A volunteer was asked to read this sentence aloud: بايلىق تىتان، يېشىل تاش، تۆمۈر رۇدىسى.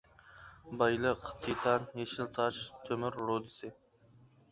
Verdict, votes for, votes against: rejected, 0, 2